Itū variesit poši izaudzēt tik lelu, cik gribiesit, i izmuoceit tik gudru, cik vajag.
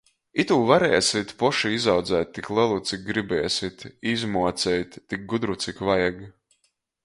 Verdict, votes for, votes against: rejected, 1, 2